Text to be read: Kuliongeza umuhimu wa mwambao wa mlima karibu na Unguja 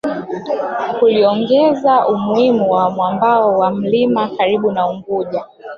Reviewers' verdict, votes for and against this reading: rejected, 0, 2